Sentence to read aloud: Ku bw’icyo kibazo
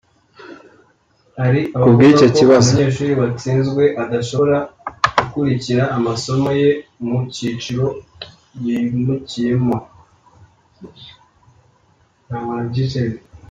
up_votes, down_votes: 0, 2